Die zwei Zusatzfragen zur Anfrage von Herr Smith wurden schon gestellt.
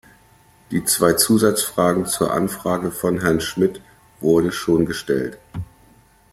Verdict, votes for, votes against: rejected, 1, 2